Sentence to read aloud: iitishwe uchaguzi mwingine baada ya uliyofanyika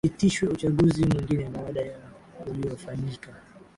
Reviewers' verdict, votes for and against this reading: accepted, 5, 1